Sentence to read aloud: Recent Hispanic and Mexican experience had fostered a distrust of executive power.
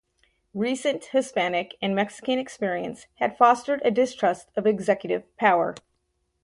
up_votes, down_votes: 4, 0